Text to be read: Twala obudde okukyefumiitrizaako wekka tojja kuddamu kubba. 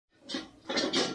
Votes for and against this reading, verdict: 0, 2, rejected